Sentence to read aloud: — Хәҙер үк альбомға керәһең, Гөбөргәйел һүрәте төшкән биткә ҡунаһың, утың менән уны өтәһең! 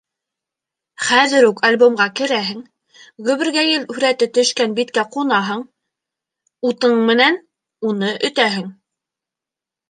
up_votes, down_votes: 2, 0